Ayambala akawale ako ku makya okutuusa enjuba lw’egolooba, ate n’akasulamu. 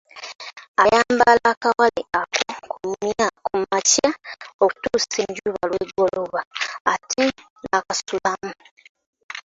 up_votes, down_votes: 2, 0